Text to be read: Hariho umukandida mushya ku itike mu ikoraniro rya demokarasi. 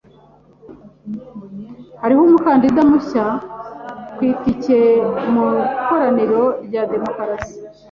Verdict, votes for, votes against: accepted, 2, 1